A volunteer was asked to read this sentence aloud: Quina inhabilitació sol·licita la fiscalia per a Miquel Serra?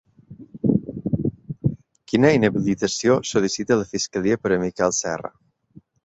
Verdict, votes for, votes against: rejected, 0, 3